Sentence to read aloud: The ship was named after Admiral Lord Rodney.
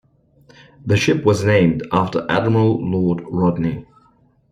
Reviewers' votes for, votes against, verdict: 2, 0, accepted